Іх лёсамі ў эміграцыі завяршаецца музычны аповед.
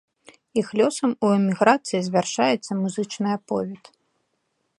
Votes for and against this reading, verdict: 2, 0, accepted